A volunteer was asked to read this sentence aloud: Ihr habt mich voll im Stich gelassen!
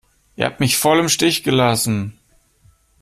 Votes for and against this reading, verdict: 2, 0, accepted